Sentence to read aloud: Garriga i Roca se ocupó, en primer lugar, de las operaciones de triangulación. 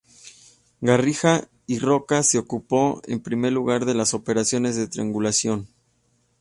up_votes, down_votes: 2, 0